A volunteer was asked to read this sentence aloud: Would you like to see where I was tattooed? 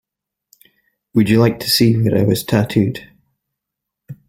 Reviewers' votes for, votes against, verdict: 3, 0, accepted